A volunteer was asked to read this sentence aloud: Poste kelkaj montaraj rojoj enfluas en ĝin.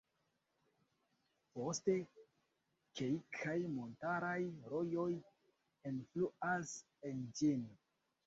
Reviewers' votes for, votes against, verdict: 2, 1, accepted